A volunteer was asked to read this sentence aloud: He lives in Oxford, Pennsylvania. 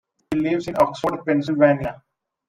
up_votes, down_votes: 2, 1